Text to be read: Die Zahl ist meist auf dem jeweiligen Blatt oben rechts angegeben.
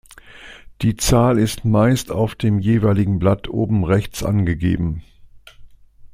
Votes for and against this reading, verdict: 2, 0, accepted